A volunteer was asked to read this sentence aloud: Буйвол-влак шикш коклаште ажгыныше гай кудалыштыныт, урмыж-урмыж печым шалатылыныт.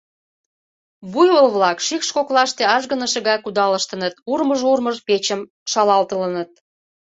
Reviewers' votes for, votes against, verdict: 2, 1, accepted